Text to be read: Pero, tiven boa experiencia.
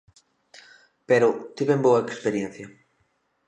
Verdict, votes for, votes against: accepted, 2, 0